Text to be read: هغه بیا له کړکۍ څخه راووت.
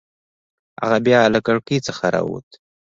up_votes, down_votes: 2, 3